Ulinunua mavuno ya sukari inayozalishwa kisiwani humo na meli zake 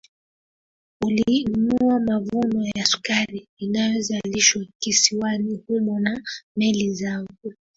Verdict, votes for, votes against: rejected, 0, 2